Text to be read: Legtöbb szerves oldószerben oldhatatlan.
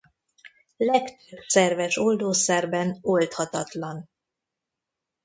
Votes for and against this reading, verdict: 1, 2, rejected